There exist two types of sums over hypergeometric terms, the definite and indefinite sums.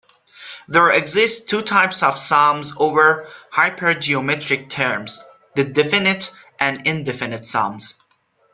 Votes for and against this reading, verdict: 2, 0, accepted